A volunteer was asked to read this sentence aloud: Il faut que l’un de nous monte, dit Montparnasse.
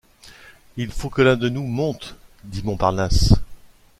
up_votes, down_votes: 2, 0